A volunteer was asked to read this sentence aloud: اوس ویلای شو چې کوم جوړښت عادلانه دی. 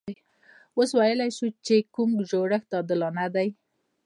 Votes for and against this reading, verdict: 0, 2, rejected